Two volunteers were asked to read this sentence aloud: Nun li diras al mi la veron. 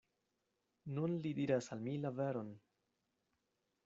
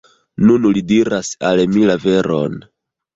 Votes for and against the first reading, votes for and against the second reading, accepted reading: 2, 0, 2, 3, first